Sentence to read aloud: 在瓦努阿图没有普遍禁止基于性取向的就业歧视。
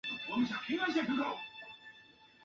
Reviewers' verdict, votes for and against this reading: rejected, 1, 2